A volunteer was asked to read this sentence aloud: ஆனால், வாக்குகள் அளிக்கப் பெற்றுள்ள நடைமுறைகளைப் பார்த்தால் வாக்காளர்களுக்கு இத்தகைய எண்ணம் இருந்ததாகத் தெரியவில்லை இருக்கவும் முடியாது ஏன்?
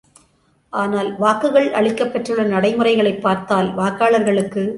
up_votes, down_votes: 0, 2